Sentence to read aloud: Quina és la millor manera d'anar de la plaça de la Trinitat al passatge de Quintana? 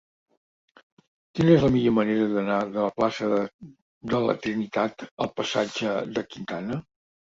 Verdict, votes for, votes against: rejected, 0, 2